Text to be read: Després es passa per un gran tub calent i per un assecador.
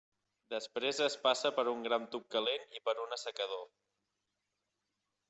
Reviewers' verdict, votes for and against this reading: accepted, 3, 1